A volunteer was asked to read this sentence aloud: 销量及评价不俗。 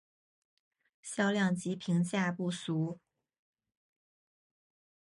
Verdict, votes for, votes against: accepted, 3, 1